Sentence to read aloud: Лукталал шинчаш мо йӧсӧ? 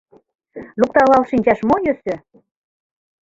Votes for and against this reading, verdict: 2, 0, accepted